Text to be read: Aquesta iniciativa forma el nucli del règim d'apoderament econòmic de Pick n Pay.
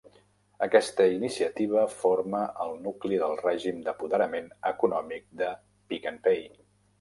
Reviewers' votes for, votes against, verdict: 0, 2, rejected